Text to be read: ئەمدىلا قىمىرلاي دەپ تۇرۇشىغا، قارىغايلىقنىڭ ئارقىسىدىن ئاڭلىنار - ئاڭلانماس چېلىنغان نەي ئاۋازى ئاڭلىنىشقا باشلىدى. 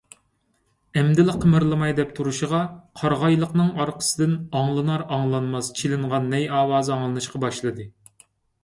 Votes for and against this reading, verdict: 0, 2, rejected